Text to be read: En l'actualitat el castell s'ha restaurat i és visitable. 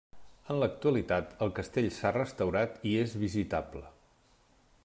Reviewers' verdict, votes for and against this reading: accepted, 3, 0